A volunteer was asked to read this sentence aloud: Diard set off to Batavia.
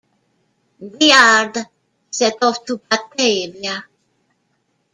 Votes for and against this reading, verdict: 0, 2, rejected